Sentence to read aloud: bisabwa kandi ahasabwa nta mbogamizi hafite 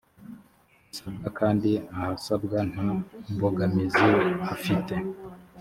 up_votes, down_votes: 3, 0